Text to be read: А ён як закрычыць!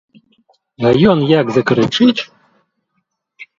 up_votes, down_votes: 2, 1